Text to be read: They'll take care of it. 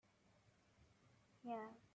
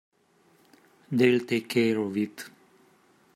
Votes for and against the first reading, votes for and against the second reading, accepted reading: 0, 2, 2, 1, second